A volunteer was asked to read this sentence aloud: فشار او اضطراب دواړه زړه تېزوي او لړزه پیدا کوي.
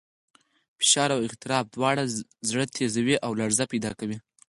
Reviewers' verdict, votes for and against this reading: accepted, 6, 2